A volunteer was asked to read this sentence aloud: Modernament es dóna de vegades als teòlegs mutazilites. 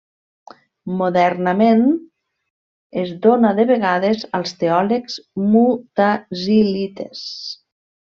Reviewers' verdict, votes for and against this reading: rejected, 0, 2